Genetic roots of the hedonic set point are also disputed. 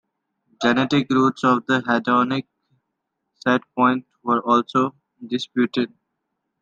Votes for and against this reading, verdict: 2, 0, accepted